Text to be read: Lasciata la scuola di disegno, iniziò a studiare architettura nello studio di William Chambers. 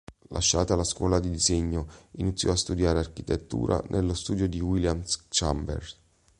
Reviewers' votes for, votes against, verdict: 1, 2, rejected